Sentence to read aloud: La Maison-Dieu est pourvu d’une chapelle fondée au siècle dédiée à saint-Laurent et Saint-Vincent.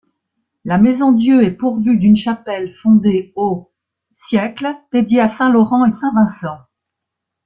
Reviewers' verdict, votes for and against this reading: rejected, 1, 2